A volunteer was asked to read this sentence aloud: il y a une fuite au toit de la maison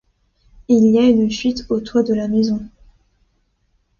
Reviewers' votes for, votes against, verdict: 2, 0, accepted